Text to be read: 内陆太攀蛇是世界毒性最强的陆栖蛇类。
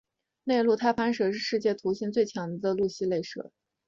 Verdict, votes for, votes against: accepted, 2, 0